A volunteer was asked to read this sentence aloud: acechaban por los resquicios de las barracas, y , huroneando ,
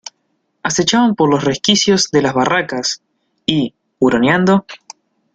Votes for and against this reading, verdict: 2, 0, accepted